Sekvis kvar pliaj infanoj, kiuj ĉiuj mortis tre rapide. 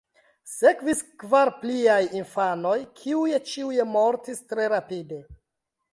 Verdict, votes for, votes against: accepted, 2, 0